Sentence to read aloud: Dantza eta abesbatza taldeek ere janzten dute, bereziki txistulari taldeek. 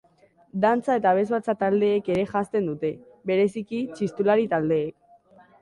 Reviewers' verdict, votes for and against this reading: accepted, 2, 0